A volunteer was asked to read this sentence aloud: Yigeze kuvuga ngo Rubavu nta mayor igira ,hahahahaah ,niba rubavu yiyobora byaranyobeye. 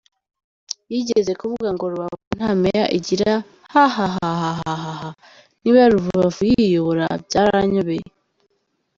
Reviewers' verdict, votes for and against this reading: accepted, 2, 0